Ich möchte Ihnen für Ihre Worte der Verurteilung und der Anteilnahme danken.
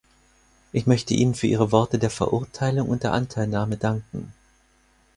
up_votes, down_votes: 4, 0